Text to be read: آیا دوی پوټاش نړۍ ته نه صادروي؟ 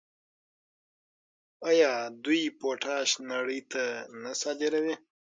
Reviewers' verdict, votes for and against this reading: rejected, 3, 6